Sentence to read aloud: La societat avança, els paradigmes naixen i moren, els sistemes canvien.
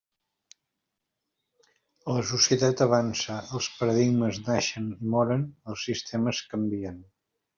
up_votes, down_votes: 1, 2